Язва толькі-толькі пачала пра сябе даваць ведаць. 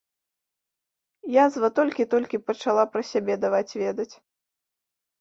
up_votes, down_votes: 1, 2